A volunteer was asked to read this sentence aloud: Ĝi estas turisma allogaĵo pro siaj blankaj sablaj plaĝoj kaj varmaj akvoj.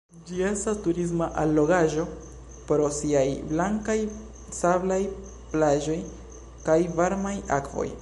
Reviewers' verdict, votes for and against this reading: accepted, 2, 0